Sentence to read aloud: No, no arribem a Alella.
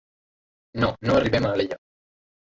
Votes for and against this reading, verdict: 0, 2, rejected